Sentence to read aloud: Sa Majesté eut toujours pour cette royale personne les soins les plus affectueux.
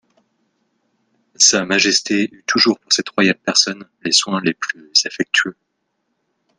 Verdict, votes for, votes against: rejected, 0, 2